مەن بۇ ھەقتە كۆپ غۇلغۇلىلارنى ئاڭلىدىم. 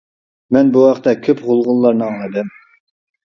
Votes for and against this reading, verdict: 0, 2, rejected